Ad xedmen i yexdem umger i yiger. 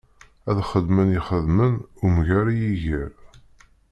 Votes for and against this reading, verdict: 1, 2, rejected